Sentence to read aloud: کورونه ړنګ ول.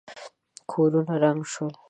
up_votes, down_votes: 0, 2